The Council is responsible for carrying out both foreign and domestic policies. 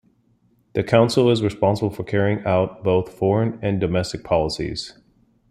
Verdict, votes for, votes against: accepted, 2, 0